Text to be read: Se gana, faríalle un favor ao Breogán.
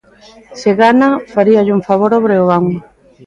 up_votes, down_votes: 2, 0